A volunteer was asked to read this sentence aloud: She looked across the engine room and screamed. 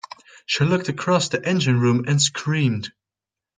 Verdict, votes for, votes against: accepted, 2, 0